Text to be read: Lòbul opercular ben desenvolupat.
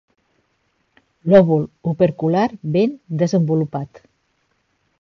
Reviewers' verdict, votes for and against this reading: accepted, 2, 0